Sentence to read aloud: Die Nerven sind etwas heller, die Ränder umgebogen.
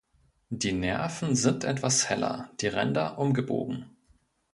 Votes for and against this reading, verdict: 2, 0, accepted